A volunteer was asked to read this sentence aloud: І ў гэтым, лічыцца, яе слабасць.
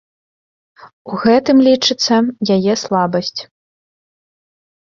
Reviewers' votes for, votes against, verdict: 1, 2, rejected